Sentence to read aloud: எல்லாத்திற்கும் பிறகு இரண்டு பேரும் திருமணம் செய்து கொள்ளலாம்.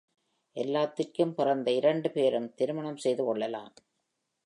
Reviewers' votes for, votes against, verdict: 2, 1, accepted